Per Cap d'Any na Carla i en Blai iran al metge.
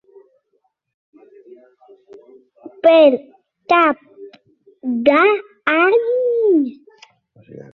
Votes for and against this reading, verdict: 0, 3, rejected